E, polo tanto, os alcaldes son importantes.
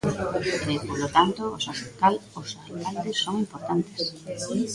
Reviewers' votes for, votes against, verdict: 0, 2, rejected